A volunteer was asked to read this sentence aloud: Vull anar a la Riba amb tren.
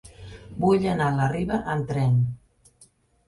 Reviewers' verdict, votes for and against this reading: accepted, 4, 0